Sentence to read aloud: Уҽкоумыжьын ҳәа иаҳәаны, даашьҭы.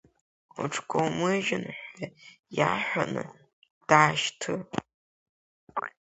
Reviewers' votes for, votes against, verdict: 2, 1, accepted